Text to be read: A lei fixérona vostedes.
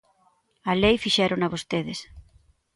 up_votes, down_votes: 2, 0